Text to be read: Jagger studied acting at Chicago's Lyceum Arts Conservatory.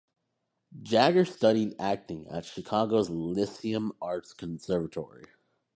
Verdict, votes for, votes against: accepted, 2, 0